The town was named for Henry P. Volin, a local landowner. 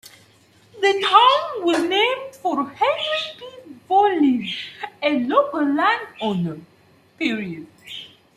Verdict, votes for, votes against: rejected, 0, 2